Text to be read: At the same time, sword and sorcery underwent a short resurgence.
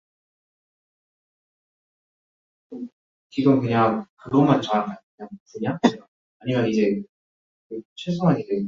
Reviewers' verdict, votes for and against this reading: rejected, 0, 2